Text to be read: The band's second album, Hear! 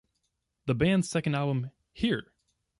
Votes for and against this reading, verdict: 2, 0, accepted